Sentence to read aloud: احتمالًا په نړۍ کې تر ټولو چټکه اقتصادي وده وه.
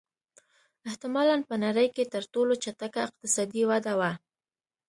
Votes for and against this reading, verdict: 2, 0, accepted